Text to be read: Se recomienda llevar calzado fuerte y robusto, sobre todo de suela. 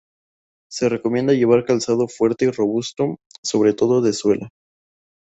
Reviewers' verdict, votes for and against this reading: accepted, 2, 0